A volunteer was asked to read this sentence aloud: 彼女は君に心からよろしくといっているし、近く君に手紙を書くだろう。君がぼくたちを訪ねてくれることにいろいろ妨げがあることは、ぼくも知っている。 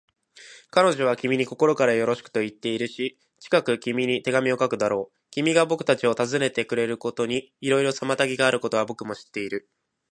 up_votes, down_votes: 5, 0